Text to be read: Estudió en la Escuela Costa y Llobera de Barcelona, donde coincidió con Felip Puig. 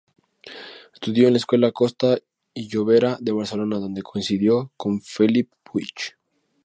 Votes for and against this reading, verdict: 2, 0, accepted